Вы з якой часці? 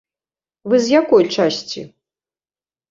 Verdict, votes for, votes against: accepted, 2, 0